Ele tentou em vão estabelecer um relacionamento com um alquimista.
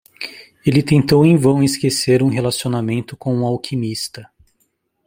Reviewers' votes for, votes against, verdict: 0, 2, rejected